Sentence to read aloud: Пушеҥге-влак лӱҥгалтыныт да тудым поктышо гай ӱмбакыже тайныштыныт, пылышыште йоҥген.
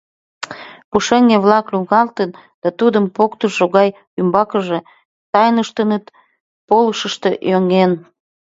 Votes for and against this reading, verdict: 0, 2, rejected